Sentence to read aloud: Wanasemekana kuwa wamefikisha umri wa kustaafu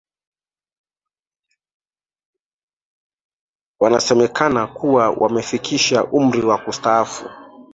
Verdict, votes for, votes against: accepted, 2, 1